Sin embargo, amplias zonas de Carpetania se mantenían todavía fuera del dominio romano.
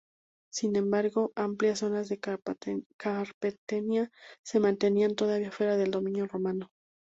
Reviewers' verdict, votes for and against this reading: rejected, 2, 10